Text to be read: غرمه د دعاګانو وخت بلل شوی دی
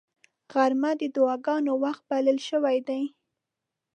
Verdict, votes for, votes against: accepted, 2, 0